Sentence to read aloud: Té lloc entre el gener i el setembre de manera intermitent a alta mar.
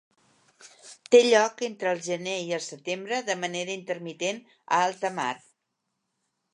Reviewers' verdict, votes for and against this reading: accepted, 2, 0